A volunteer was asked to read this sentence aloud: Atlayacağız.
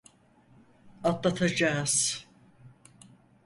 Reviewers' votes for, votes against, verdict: 0, 4, rejected